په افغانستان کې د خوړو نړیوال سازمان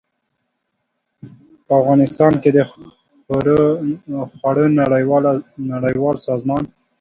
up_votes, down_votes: 0, 2